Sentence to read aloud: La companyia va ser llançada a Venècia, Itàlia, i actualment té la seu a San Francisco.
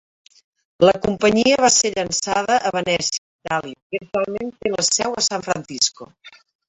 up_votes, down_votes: 0, 4